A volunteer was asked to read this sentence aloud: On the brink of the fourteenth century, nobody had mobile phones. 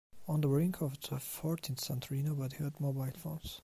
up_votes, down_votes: 1, 2